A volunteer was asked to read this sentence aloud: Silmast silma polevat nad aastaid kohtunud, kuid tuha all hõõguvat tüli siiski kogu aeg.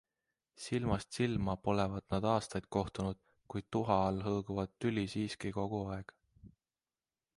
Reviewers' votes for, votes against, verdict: 2, 0, accepted